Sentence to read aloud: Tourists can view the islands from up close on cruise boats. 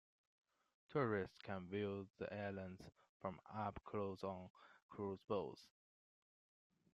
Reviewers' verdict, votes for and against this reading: rejected, 0, 2